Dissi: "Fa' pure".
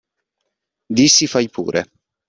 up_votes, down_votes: 0, 2